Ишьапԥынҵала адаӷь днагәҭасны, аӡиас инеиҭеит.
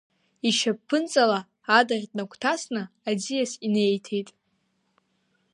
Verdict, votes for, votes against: accepted, 2, 0